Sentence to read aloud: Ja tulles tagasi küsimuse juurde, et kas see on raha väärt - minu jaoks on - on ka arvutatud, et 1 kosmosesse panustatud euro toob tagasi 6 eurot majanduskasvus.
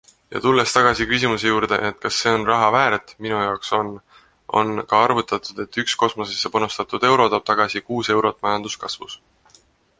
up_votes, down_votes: 0, 2